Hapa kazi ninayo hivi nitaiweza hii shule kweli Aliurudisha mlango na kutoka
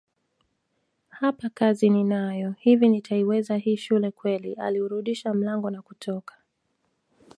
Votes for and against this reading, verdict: 2, 0, accepted